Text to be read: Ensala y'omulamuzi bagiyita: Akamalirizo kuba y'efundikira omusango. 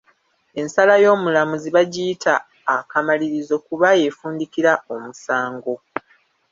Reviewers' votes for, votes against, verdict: 1, 2, rejected